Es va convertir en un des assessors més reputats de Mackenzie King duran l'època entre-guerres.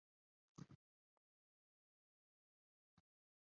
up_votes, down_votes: 0, 2